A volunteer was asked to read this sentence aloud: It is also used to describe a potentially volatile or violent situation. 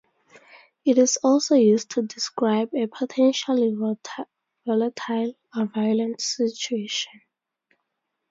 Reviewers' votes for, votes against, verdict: 0, 2, rejected